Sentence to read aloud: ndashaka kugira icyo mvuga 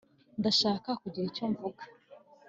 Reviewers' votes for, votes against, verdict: 3, 0, accepted